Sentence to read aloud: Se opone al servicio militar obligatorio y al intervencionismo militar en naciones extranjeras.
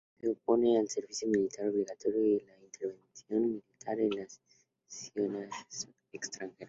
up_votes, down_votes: 2, 0